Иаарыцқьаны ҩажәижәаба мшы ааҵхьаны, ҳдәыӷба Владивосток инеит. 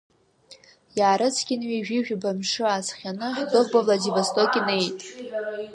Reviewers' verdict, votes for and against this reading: rejected, 1, 2